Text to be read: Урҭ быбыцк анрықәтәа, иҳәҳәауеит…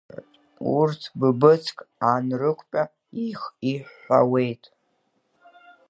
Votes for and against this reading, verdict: 1, 2, rejected